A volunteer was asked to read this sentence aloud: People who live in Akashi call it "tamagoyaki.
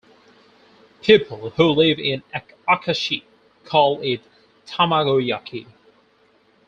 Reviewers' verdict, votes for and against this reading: rejected, 0, 4